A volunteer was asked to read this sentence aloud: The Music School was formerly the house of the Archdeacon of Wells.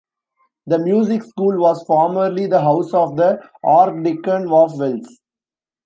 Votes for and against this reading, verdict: 0, 2, rejected